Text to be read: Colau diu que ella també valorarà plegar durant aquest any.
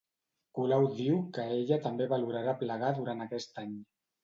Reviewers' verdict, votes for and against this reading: accepted, 2, 0